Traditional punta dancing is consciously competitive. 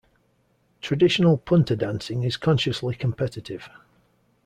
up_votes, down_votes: 2, 0